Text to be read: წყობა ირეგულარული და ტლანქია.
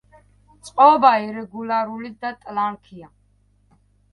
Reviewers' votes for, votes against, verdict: 2, 0, accepted